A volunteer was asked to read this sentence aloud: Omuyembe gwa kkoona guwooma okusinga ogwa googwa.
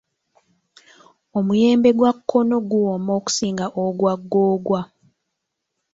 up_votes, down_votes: 1, 2